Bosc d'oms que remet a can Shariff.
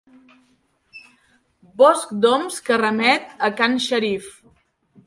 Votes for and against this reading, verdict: 2, 0, accepted